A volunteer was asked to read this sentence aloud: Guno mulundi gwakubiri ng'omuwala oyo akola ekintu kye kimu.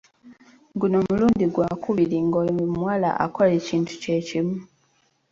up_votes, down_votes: 1, 2